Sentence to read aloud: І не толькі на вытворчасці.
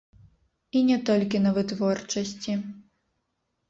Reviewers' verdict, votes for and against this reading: rejected, 0, 2